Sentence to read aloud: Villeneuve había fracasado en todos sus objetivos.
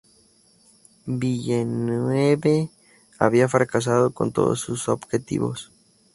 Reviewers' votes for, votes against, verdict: 0, 2, rejected